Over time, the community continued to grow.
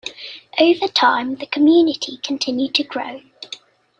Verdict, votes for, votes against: accepted, 2, 0